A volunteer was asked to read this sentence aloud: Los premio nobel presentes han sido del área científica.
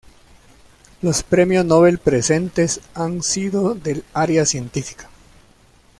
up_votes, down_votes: 1, 2